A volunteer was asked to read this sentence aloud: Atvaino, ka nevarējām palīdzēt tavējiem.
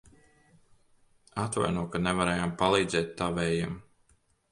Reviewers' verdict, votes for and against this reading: accepted, 3, 0